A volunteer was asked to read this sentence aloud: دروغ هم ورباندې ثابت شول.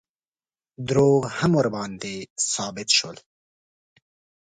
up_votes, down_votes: 2, 0